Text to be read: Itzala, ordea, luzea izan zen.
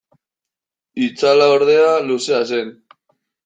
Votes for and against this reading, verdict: 0, 2, rejected